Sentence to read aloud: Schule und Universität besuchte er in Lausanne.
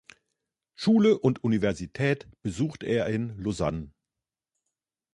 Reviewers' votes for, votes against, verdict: 0, 2, rejected